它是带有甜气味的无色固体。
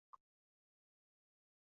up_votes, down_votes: 0, 2